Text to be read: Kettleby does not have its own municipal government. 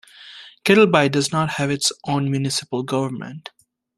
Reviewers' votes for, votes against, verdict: 2, 0, accepted